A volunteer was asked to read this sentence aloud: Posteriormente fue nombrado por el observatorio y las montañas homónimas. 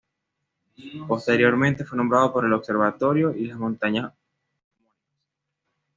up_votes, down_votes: 1, 2